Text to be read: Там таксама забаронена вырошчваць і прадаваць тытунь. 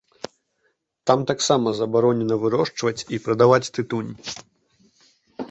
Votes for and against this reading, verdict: 2, 0, accepted